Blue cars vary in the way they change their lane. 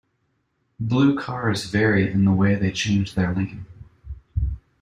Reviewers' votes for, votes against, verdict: 2, 0, accepted